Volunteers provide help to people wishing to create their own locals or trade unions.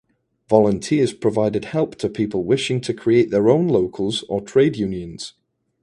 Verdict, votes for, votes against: rejected, 0, 2